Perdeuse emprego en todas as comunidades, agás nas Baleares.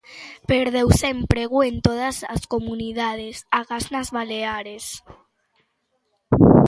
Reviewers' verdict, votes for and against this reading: accepted, 3, 0